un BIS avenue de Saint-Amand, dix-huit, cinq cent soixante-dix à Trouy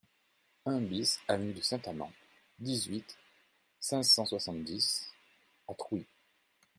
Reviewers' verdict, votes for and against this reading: accepted, 2, 0